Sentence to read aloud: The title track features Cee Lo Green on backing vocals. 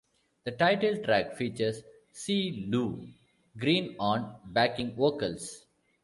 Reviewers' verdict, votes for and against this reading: accepted, 2, 0